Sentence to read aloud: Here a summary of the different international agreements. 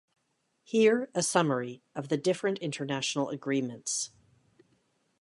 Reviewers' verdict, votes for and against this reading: accepted, 2, 0